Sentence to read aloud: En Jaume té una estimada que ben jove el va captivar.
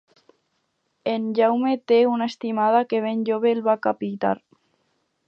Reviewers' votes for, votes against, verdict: 0, 4, rejected